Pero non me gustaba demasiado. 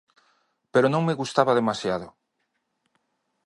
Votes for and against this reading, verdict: 2, 0, accepted